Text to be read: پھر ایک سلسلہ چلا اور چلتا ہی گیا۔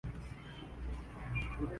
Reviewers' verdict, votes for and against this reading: rejected, 0, 2